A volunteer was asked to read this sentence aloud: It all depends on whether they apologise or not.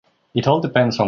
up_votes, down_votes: 1, 2